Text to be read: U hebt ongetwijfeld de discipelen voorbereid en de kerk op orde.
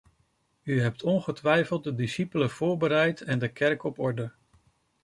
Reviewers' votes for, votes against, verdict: 2, 1, accepted